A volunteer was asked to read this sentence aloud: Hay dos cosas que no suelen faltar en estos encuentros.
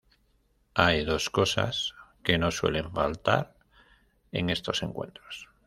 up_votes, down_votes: 2, 0